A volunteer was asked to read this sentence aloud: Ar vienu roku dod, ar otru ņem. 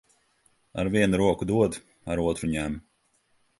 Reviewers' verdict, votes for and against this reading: accepted, 2, 0